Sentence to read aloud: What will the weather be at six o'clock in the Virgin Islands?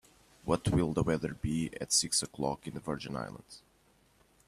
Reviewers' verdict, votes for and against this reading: accepted, 2, 0